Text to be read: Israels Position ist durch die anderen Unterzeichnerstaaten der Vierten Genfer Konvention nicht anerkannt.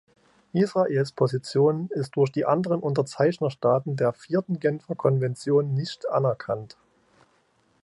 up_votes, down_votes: 3, 0